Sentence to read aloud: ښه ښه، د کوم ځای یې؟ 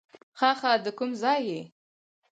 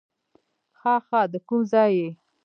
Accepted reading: first